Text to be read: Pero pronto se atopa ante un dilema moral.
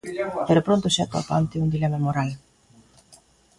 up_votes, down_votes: 0, 2